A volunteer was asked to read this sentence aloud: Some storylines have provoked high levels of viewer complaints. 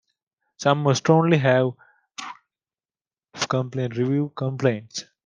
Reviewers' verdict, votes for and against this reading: rejected, 0, 2